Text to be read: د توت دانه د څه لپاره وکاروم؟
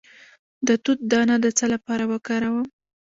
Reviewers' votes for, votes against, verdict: 0, 2, rejected